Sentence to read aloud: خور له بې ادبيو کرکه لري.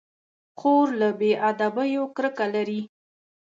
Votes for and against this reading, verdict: 2, 0, accepted